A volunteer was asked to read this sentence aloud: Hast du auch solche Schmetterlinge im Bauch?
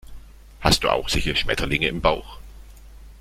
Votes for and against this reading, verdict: 1, 2, rejected